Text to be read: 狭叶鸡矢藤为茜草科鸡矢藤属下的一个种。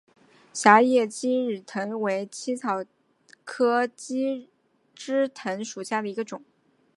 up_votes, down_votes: 0, 3